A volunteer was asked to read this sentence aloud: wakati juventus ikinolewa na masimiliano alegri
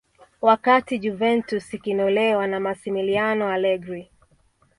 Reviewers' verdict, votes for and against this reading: accepted, 2, 0